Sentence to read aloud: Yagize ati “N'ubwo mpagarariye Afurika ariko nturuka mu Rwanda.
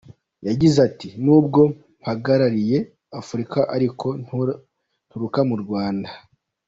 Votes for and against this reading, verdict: 2, 1, accepted